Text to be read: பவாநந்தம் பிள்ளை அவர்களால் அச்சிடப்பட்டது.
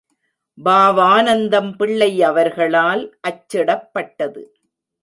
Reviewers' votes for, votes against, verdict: 0, 2, rejected